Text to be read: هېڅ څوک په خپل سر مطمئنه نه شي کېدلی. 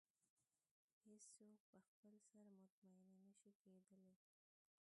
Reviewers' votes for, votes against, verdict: 1, 2, rejected